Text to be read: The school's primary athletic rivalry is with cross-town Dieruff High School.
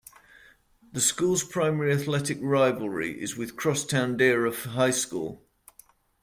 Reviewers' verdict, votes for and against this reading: accepted, 2, 0